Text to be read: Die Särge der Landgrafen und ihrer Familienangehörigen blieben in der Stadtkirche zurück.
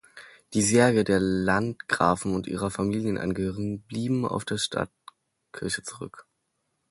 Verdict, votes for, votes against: rejected, 1, 2